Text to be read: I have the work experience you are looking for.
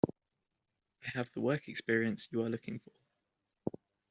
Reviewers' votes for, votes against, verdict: 1, 2, rejected